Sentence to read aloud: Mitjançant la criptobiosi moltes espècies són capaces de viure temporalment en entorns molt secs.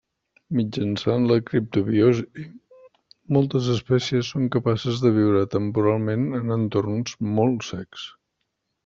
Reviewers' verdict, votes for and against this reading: accepted, 2, 0